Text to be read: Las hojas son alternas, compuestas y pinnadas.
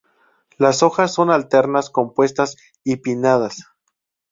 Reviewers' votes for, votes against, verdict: 2, 0, accepted